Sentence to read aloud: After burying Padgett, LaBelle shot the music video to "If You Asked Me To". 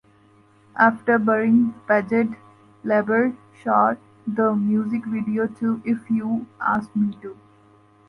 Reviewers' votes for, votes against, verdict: 2, 0, accepted